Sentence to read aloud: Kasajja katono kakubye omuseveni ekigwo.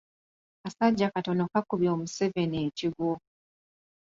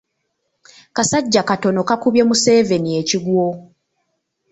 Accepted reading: first